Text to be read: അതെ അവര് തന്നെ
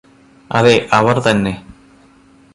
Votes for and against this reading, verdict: 2, 0, accepted